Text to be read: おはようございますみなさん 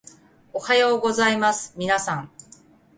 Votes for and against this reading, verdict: 2, 0, accepted